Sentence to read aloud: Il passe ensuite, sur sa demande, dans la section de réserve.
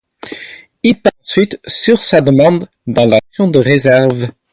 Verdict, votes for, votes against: rejected, 2, 4